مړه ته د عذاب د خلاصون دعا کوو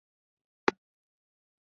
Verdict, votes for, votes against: rejected, 1, 3